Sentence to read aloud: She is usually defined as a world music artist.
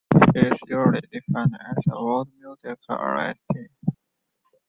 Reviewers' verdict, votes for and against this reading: rejected, 0, 2